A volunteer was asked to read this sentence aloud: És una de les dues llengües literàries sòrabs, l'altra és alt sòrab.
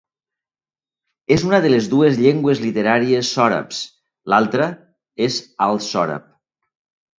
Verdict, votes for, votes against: accepted, 2, 0